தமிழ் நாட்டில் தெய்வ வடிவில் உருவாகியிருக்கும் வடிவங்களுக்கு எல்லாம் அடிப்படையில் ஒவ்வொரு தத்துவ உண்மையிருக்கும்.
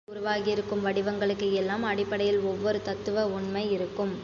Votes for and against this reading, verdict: 1, 2, rejected